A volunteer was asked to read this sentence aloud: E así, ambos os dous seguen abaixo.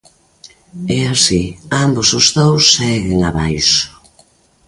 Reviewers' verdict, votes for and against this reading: accepted, 2, 0